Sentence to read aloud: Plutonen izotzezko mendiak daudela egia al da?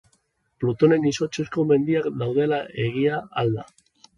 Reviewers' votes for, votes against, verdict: 3, 1, accepted